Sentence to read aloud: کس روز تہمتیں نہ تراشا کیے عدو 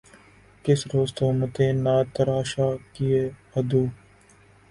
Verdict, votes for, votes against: accepted, 2, 0